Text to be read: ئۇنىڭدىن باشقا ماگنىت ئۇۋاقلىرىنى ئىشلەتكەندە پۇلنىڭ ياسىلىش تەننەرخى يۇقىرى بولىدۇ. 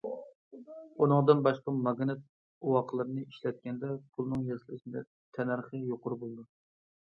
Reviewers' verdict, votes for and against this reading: rejected, 1, 2